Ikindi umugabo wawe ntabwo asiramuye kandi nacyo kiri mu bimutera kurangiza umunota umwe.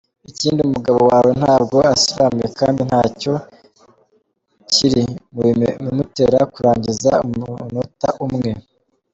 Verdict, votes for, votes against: accepted, 2, 0